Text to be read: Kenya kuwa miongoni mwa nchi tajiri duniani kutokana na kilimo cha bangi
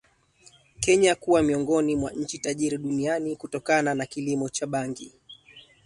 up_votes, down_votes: 5, 1